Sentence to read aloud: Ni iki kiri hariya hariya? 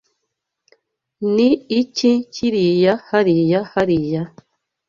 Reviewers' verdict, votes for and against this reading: rejected, 1, 2